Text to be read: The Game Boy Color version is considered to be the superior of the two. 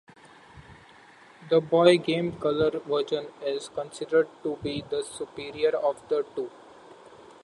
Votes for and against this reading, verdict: 1, 2, rejected